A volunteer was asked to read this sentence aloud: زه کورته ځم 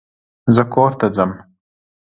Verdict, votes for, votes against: accepted, 2, 0